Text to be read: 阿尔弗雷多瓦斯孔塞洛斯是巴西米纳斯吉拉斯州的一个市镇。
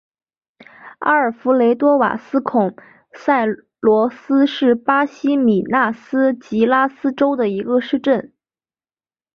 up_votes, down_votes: 2, 1